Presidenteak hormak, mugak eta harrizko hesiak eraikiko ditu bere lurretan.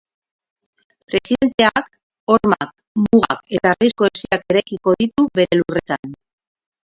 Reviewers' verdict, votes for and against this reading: rejected, 0, 2